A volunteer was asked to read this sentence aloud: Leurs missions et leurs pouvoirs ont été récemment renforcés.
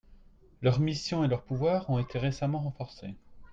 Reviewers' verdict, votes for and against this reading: accepted, 3, 0